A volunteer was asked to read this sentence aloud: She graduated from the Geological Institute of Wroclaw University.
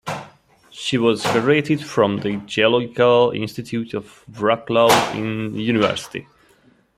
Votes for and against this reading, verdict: 3, 1, accepted